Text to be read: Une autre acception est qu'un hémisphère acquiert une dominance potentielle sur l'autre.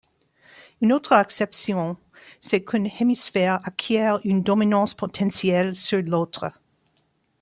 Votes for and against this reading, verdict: 1, 2, rejected